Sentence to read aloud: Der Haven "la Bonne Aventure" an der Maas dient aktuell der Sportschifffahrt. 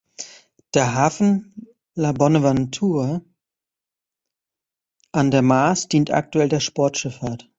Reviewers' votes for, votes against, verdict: 1, 2, rejected